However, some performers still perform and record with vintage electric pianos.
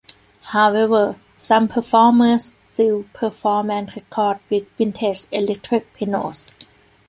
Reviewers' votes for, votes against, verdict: 2, 1, accepted